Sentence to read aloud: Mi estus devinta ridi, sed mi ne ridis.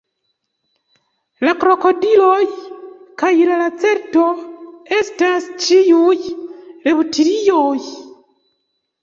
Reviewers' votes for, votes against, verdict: 0, 2, rejected